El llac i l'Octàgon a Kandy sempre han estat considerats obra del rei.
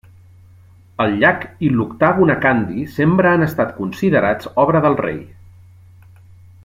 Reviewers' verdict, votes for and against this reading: accepted, 3, 0